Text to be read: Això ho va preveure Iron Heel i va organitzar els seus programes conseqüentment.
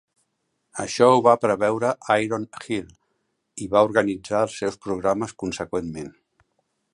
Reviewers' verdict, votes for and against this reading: accepted, 2, 0